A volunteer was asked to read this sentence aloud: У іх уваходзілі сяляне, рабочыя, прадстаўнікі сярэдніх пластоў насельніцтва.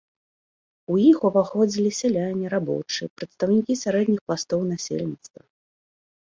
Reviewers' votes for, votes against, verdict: 2, 0, accepted